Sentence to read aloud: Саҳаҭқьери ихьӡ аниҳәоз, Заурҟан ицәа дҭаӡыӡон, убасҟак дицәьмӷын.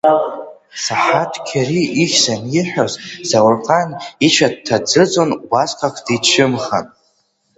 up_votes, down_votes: 0, 2